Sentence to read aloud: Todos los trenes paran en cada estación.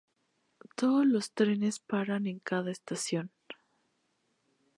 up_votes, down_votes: 4, 0